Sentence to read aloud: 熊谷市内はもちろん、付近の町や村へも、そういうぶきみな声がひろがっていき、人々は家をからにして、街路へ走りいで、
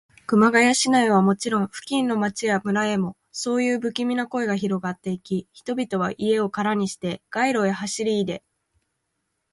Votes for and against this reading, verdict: 3, 0, accepted